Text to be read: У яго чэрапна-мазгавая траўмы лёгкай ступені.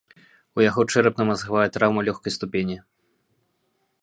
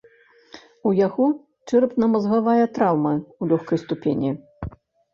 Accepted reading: first